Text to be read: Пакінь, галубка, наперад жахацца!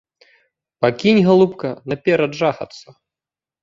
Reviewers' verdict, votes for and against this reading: accepted, 2, 0